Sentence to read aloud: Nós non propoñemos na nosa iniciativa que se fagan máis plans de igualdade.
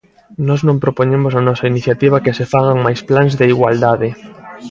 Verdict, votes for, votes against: accepted, 2, 1